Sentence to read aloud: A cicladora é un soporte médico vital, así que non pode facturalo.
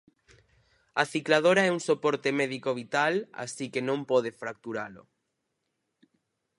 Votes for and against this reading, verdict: 0, 4, rejected